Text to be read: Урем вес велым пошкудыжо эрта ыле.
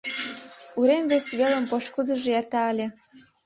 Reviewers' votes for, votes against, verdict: 3, 0, accepted